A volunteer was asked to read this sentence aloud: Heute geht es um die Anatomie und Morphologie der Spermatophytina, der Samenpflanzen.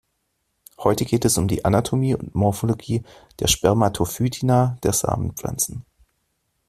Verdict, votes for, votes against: accepted, 2, 0